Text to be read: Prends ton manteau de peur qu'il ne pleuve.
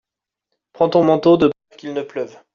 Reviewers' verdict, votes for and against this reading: rejected, 0, 2